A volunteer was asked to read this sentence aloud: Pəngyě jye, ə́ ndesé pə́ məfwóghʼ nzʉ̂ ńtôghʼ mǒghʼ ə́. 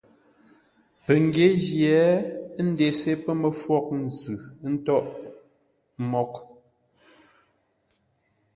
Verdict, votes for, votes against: accepted, 2, 0